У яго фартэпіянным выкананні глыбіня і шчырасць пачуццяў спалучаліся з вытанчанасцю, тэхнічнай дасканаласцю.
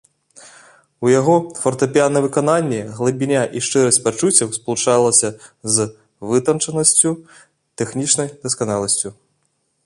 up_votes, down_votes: 2, 1